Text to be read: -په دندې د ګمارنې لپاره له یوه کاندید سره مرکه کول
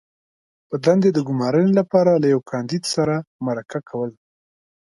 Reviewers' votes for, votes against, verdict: 2, 0, accepted